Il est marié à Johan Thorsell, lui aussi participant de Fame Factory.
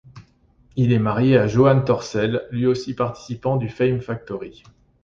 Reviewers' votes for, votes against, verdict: 1, 2, rejected